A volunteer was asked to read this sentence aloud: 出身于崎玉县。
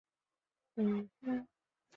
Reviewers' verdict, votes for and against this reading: rejected, 0, 6